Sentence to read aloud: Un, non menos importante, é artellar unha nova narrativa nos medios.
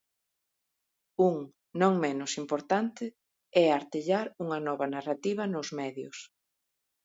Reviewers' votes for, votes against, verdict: 2, 0, accepted